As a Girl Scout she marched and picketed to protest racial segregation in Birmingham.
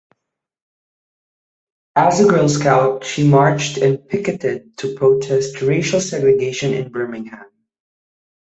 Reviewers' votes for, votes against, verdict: 2, 0, accepted